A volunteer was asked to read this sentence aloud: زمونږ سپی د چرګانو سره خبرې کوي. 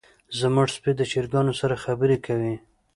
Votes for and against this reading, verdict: 2, 0, accepted